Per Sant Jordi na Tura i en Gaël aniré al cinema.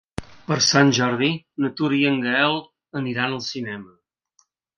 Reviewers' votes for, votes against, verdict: 1, 3, rejected